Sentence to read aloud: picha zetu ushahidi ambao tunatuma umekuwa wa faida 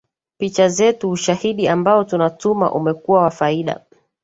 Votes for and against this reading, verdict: 3, 1, accepted